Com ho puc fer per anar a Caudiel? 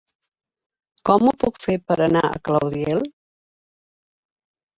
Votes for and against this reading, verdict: 0, 2, rejected